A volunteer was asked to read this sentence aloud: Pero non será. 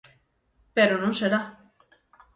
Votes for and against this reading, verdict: 6, 0, accepted